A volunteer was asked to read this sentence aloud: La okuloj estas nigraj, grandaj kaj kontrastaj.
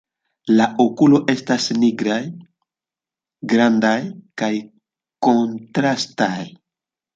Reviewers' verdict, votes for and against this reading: rejected, 0, 2